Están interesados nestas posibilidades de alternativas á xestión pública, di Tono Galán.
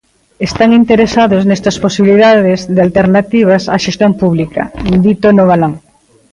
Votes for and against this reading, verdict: 2, 0, accepted